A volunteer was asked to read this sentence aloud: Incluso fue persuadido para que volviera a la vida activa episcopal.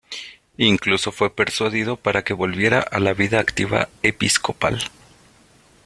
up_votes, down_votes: 2, 0